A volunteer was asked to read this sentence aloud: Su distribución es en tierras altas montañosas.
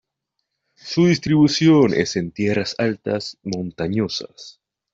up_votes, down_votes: 2, 0